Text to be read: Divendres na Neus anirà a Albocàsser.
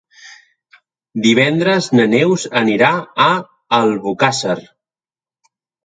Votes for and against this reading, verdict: 4, 0, accepted